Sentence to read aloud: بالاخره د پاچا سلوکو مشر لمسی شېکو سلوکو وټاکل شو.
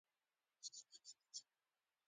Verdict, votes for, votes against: rejected, 0, 2